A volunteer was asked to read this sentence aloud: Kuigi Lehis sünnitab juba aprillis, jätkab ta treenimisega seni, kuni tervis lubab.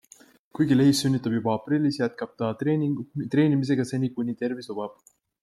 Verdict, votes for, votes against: rejected, 0, 2